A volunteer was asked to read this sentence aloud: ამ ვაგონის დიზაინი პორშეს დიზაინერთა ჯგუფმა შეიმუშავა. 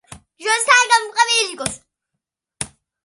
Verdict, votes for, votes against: rejected, 0, 2